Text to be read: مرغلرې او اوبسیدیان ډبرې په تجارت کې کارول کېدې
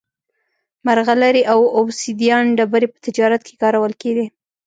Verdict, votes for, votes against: rejected, 1, 2